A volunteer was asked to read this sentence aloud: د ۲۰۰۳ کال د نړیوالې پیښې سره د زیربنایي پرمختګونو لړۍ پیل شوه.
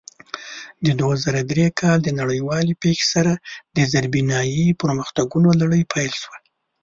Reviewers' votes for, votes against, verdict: 0, 2, rejected